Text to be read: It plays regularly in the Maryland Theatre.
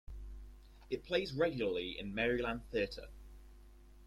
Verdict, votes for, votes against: rejected, 0, 2